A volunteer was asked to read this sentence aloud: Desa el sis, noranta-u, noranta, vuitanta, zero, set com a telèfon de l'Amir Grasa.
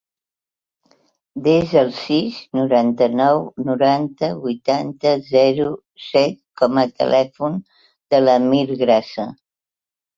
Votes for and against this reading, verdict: 0, 2, rejected